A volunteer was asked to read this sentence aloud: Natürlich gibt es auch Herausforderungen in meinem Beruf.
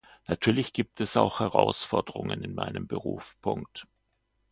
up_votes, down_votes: 0, 2